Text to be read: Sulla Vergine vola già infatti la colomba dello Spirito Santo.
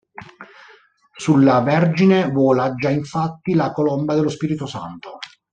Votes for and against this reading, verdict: 2, 0, accepted